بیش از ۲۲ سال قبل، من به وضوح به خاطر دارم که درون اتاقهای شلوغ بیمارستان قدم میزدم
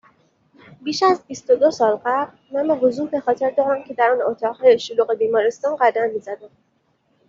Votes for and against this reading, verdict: 0, 2, rejected